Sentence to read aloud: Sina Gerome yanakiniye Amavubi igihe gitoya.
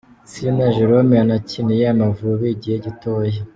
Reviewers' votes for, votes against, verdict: 2, 0, accepted